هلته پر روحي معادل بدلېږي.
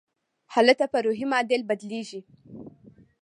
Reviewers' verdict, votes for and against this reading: accepted, 2, 0